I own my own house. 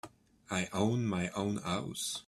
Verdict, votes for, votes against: accepted, 2, 1